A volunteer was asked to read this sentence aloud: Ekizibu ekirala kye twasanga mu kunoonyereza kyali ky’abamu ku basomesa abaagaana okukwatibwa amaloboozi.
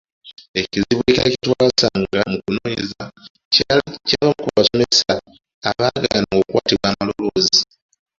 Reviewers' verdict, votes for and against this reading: accepted, 2, 1